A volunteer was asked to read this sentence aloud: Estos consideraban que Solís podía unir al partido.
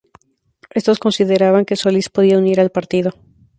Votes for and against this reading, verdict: 2, 0, accepted